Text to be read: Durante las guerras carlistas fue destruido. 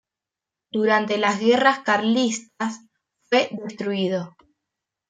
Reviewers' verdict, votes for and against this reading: rejected, 0, 2